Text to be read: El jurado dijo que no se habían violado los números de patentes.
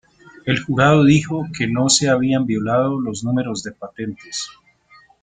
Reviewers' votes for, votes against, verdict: 0, 2, rejected